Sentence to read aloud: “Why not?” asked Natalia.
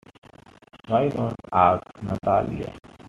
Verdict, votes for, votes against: rejected, 1, 2